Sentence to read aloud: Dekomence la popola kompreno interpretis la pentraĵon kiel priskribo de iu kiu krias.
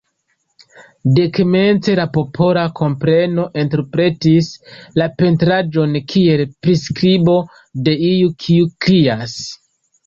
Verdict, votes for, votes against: accepted, 2, 0